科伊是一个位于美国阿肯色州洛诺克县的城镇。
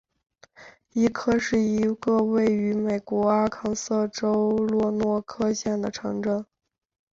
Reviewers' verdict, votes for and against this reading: rejected, 1, 2